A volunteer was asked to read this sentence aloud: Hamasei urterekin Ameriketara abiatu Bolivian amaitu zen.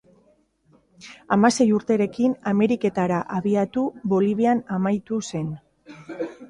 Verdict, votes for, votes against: accepted, 2, 0